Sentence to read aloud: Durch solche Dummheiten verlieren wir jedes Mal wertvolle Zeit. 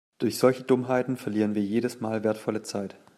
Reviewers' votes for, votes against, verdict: 2, 0, accepted